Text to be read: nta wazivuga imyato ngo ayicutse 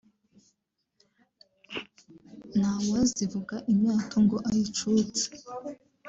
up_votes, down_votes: 2, 0